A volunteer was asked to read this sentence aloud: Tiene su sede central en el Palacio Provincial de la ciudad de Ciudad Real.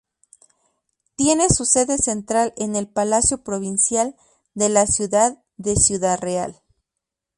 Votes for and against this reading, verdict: 2, 0, accepted